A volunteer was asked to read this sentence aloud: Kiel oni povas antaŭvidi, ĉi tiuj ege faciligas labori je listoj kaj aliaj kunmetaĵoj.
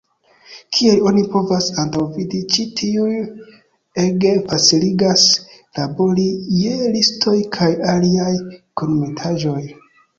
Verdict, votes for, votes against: accepted, 2, 0